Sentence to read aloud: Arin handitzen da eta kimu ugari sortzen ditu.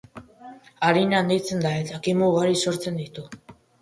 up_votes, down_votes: 3, 1